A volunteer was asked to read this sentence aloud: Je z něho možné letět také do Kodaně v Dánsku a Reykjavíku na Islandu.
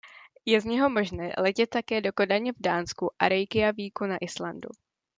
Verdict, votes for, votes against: accepted, 2, 0